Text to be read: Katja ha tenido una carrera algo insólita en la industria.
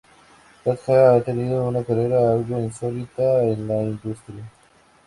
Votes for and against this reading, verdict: 2, 0, accepted